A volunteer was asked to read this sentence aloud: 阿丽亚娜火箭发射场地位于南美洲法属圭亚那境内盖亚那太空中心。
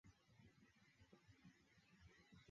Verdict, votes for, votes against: rejected, 0, 2